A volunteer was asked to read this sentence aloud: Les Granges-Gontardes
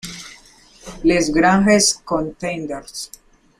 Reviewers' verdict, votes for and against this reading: rejected, 0, 2